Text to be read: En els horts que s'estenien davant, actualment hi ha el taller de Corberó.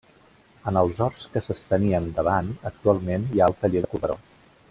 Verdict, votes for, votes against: rejected, 1, 2